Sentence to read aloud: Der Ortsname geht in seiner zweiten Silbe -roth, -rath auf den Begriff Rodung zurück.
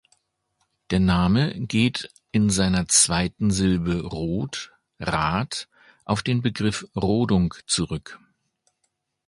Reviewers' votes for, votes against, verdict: 0, 2, rejected